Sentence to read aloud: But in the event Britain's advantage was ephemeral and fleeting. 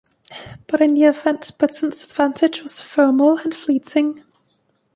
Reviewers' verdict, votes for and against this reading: accepted, 2, 1